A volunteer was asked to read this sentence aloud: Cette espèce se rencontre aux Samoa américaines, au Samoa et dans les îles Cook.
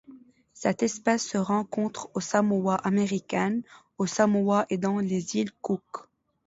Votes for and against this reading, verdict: 2, 0, accepted